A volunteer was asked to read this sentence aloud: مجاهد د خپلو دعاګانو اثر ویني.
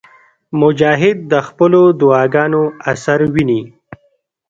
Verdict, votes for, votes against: rejected, 1, 2